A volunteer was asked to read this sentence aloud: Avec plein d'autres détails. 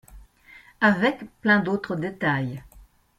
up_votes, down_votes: 2, 0